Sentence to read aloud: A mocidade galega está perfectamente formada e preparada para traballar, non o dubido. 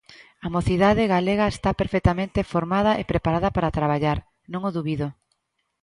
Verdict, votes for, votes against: accepted, 2, 0